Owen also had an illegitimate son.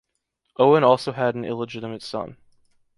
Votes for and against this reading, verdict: 2, 0, accepted